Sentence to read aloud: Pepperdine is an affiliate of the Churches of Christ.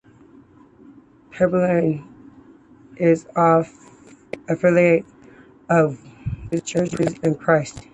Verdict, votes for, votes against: accepted, 2, 1